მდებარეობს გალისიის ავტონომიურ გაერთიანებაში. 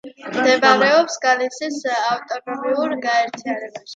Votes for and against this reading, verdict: 1, 2, rejected